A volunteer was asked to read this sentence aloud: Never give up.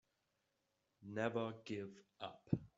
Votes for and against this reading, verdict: 1, 2, rejected